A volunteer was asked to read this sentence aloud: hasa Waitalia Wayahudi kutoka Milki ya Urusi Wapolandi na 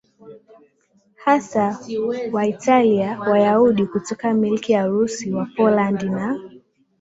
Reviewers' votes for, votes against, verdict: 2, 0, accepted